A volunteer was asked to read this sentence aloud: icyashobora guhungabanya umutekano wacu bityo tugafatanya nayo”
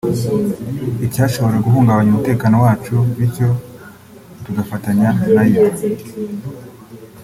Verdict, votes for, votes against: rejected, 1, 2